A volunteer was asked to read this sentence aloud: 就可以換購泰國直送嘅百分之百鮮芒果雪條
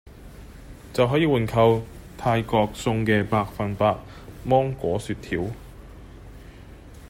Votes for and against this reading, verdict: 0, 2, rejected